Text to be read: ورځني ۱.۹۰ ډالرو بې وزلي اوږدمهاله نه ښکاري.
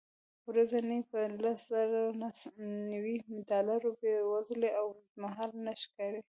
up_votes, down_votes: 0, 2